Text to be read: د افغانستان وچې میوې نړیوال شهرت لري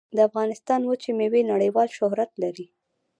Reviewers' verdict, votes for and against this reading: rejected, 0, 2